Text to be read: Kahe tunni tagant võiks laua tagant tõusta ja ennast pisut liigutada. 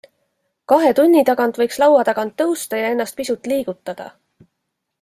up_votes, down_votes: 2, 0